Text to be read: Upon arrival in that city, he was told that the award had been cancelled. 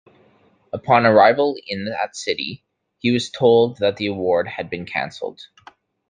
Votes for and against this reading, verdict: 2, 0, accepted